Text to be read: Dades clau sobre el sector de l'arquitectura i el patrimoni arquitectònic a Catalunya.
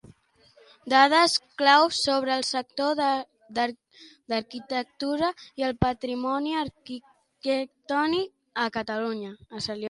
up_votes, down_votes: 0, 2